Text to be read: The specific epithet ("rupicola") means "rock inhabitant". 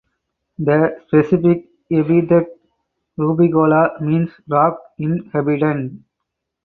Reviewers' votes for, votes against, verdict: 2, 4, rejected